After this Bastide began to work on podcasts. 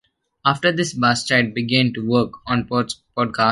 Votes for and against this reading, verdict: 0, 2, rejected